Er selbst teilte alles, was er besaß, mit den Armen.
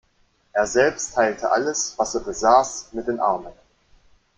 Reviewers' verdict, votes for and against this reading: accepted, 2, 0